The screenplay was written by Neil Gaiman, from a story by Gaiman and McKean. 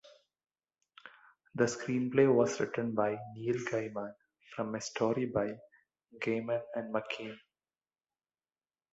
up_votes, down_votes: 0, 2